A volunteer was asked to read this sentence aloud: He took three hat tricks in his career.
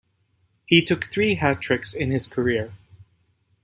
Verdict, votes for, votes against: accepted, 2, 0